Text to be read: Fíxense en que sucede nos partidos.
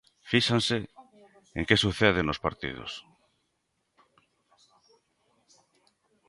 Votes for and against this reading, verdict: 2, 0, accepted